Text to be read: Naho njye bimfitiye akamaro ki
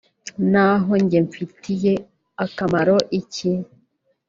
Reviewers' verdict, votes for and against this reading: rejected, 1, 2